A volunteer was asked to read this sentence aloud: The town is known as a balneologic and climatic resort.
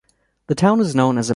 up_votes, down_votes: 2, 0